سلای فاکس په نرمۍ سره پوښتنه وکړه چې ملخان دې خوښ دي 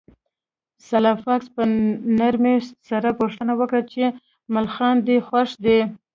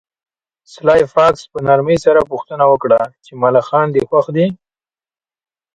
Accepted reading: second